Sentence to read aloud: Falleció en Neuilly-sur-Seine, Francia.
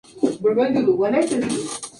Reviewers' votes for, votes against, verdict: 0, 2, rejected